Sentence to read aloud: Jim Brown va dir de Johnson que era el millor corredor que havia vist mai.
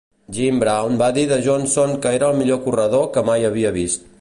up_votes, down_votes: 1, 2